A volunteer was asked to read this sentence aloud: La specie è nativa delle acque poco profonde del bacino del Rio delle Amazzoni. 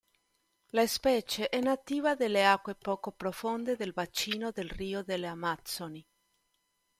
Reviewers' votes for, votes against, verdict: 2, 0, accepted